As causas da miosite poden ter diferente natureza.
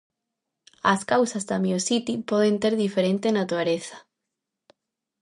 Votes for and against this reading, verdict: 0, 2, rejected